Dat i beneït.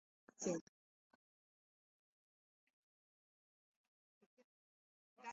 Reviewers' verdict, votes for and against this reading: rejected, 0, 3